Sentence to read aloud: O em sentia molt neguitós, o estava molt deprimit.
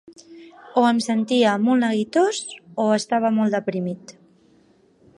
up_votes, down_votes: 8, 0